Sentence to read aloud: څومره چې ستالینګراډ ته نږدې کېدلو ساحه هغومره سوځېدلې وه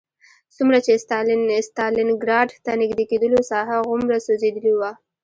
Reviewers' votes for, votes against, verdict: 1, 2, rejected